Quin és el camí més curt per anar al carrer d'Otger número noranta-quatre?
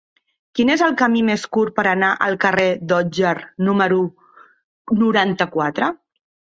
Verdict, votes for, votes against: accepted, 3, 0